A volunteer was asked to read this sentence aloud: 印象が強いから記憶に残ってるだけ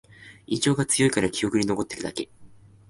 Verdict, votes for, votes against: accepted, 2, 0